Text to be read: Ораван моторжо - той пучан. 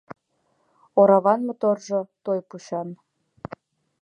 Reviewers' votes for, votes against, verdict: 2, 0, accepted